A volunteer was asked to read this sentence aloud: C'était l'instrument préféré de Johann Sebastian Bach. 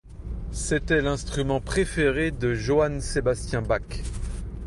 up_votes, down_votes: 1, 2